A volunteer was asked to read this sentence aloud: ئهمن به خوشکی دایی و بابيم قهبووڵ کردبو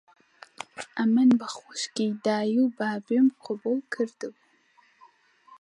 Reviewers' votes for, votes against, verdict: 1, 2, rejected